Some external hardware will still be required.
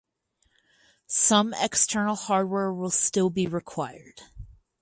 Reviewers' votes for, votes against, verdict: 2, 0, accepted